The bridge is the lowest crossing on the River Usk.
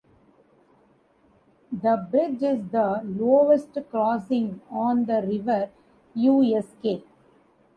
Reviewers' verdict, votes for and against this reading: rejected, 1, 2